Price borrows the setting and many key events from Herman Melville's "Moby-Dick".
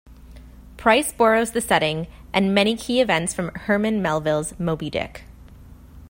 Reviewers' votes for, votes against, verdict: 2, 0, accepted